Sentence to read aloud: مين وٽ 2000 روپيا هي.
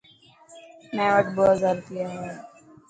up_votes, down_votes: 0, 2